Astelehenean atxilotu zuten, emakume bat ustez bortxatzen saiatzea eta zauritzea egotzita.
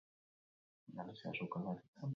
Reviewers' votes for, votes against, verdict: 0, 2, rejected